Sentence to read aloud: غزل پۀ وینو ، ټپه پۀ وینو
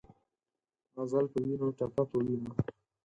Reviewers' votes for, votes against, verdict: 2, 4, rejected